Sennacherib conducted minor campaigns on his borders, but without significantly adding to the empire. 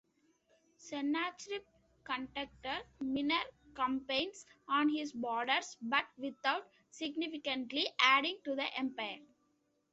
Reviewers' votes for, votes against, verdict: 2, 0, accepted